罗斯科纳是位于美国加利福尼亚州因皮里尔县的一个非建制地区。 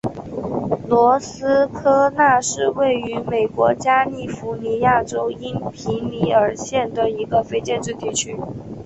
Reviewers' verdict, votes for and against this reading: accepted, 4, 0